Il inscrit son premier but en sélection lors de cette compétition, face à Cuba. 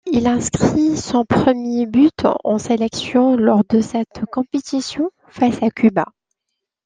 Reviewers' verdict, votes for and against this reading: accepted, 2, 0